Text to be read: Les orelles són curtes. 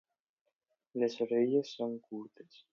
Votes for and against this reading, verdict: 2, 0, accepted